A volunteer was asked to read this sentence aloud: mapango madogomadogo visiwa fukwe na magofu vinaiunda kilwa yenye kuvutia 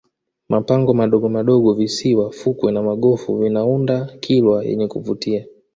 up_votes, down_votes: 2, 0